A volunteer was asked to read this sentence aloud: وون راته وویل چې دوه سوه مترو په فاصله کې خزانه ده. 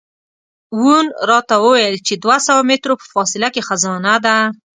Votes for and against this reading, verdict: 1, 2, rejected